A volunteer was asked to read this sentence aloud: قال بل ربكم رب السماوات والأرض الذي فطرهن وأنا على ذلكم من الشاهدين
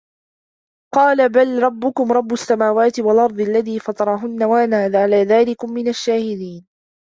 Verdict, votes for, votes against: accepted, 2, 0